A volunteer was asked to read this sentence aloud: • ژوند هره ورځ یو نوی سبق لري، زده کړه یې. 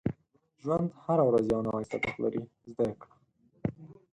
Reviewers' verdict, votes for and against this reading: rejected, 2, 4